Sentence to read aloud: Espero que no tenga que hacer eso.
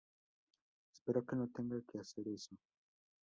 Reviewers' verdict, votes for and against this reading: rejected, 0, 2